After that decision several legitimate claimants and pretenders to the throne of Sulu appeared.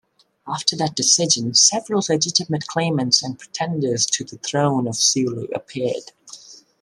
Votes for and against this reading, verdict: 2, 0, accepted